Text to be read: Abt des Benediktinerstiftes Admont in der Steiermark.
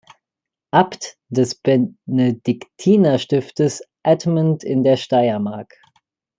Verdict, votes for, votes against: rejected, 0, 2